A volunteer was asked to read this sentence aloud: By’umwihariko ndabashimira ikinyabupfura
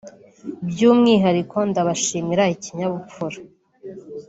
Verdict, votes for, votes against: rejected, 1, 2